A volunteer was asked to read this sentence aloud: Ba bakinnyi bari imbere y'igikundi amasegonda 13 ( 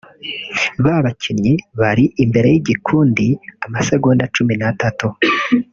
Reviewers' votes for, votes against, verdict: 0, 2, rejected